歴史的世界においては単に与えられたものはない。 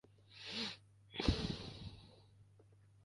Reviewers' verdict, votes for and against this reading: rejected, 0, 2